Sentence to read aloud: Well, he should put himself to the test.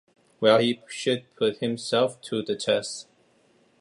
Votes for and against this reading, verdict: 2, 0, accepted